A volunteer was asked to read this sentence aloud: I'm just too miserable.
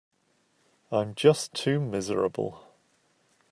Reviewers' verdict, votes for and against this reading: accepted, 2, 0